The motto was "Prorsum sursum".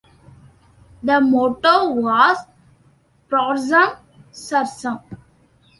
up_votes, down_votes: 2, 1